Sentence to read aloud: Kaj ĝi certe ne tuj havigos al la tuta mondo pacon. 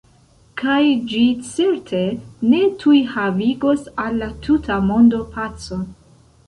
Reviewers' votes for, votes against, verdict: 1, 2, rejected